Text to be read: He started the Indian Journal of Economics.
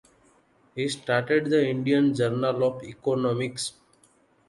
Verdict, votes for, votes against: accepted, 2, 0